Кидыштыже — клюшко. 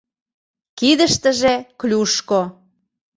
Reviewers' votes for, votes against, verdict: 2, 0, accepted